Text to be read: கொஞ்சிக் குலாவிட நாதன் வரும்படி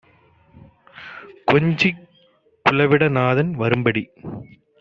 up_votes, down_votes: 0, 2